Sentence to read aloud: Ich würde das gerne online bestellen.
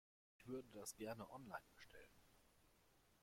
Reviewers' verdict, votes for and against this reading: rejected, 0, 2